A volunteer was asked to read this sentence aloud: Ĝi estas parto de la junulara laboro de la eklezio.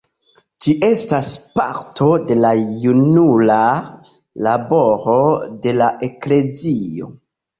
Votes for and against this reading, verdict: 1, 2, rejected